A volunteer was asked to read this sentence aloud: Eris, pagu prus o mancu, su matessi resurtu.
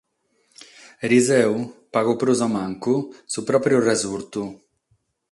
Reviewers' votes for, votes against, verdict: 0, 6, rejected